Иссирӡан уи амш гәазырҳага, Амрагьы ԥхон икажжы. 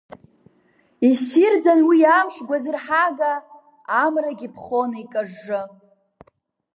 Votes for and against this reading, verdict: 1, 2, rejected